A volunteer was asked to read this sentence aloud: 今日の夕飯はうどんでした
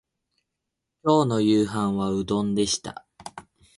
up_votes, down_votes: 2, 2